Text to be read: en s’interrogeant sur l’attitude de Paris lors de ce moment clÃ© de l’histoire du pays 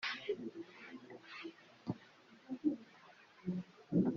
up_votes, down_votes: 0, 2